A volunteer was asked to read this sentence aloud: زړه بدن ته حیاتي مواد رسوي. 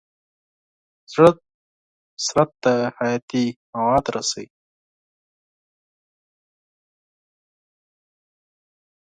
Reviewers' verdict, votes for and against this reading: rejected, 2, 4